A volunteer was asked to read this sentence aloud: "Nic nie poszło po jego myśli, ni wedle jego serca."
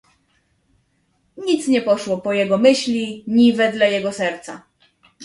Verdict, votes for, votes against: accepted, 2, 1